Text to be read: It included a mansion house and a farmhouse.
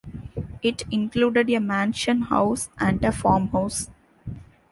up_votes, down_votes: 2, 0